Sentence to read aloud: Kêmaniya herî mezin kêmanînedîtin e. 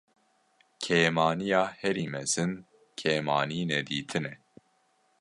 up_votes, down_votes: 2, 0